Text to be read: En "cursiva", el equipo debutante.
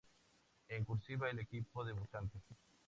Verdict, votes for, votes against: accepted, 2, 0